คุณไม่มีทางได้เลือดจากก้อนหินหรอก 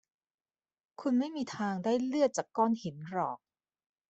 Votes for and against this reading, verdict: 2, 0, accepted